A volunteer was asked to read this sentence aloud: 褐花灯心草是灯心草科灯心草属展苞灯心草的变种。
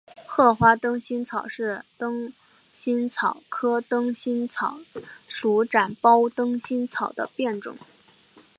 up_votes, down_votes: 0, 2